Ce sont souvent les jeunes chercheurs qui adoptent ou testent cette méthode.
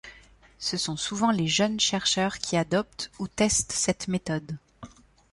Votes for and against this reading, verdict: 2, 0, accepted